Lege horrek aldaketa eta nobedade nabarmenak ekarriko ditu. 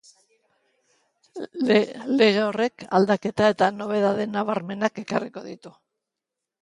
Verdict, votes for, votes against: rejected, 1, 2